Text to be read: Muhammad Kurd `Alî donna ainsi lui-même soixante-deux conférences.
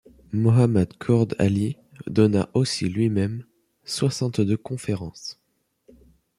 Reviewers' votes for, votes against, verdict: 0, 2, rejected